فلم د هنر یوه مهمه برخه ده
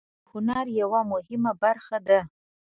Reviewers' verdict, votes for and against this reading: rejected, 1, 2